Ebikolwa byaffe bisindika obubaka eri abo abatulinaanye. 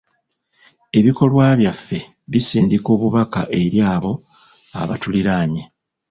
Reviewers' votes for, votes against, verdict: 1, 2, rejected